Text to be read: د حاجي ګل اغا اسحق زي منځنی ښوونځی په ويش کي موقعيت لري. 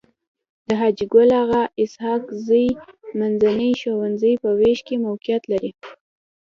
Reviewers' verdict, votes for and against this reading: accepted, 2, 0